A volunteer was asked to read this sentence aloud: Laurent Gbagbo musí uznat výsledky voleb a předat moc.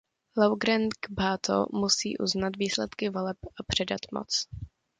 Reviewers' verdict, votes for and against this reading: rejected, 1, 2